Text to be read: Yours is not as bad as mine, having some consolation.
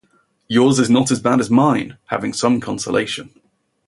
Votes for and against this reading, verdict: 2, 0, accepted